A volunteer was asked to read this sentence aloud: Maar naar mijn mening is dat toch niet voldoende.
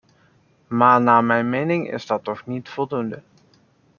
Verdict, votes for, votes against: accepted, 2, 0